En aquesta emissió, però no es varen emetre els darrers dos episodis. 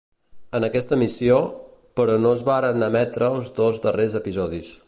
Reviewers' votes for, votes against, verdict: 1, 2, rejected